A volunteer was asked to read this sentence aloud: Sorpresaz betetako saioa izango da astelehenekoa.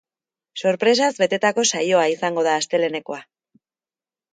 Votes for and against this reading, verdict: 3, 0, accepted